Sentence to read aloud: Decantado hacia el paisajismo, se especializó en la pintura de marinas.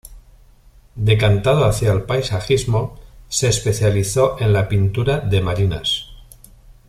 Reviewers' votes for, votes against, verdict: 2, 0, accepted